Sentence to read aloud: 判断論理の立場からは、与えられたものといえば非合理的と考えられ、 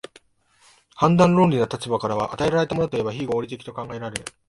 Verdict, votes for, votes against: accepted, 2, 0